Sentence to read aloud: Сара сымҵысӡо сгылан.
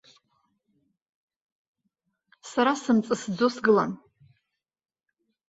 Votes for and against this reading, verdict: 0, 2, rejected